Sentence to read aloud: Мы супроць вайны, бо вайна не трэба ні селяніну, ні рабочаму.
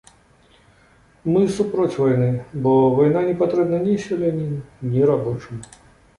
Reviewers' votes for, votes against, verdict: 1, 2, rejected